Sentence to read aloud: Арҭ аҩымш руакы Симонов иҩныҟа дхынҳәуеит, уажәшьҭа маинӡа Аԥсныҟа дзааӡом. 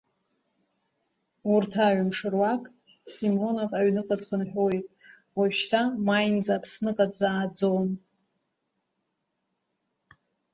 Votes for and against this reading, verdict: 2, 1, accepted